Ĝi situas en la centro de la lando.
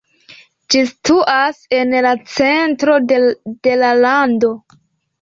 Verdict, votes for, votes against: accepted, 2, 0